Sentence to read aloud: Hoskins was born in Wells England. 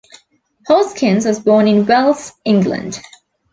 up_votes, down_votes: 2, 0